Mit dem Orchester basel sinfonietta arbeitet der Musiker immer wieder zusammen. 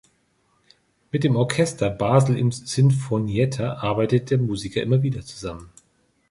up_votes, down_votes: 0, 3